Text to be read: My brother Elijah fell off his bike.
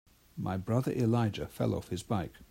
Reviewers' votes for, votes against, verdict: 2, 0, accepted